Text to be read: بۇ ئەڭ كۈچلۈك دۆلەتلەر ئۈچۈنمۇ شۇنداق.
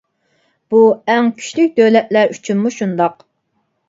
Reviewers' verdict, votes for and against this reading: accepted, 2, 0